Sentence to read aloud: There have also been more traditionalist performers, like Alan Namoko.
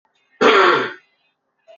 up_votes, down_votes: 0, 2